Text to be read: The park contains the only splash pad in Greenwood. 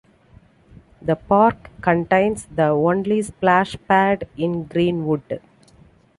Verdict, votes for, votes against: accepted, 2, 0